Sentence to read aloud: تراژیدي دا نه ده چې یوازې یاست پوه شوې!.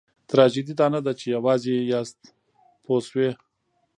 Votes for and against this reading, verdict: 2, 1, accepted